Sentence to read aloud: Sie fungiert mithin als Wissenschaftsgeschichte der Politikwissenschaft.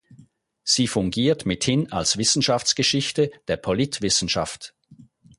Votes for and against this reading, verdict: 0, 4, rejected